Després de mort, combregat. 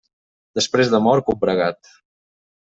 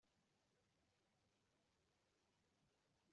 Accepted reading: first